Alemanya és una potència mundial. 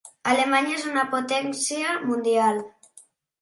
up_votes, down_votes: 3, 0